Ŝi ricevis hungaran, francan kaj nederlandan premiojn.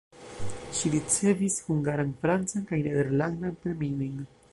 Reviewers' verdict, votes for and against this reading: accepted, 2, 0